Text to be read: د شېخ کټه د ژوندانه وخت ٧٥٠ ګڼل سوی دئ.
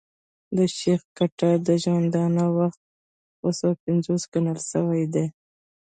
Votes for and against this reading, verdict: 0, 2, rejected